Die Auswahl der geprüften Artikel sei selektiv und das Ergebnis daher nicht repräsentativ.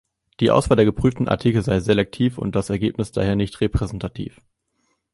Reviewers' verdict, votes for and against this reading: accepted, 2, 0